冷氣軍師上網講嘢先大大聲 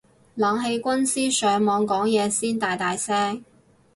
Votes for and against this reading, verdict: 2, 0, accepted